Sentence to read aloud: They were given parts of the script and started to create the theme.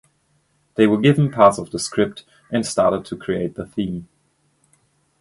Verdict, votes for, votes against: accepted, 2, 0